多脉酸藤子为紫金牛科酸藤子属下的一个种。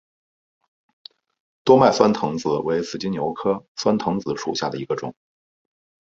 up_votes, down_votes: 5, 0